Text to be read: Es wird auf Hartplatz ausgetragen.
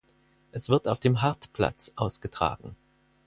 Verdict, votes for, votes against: rejected, 0, 4